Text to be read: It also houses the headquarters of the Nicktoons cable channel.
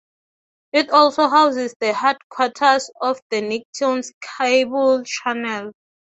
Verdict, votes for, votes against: accepted, 3, 0